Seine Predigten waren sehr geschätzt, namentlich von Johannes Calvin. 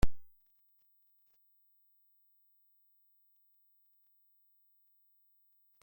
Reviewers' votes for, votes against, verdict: 0, 2, rejected